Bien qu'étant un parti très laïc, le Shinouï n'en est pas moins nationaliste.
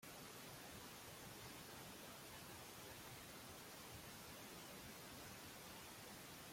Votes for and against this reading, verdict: 0, 2, rejected